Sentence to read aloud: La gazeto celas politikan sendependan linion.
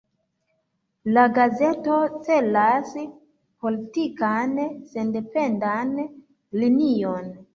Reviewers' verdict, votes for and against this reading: accepted, 2, 1